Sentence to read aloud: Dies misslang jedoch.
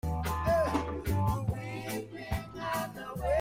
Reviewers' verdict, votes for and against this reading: rejected, 0, 2